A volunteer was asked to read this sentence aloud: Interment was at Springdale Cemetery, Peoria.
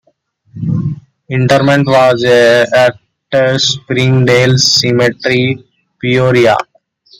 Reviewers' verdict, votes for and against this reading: accepted, 2, 1